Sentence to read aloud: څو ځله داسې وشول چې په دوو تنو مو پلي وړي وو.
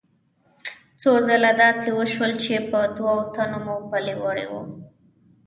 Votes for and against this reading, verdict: 0, 2, rejected